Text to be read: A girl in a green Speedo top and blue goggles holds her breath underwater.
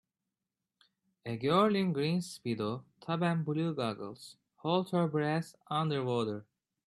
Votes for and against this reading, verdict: 0, 2, rejected